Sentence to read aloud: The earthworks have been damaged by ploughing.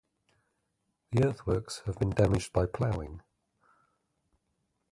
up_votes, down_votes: 0, 2